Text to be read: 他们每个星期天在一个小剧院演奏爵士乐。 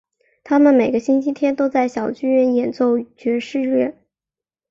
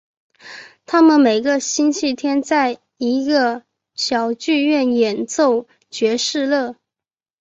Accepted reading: first